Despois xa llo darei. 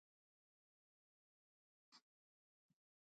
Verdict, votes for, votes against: rejected, 0, 2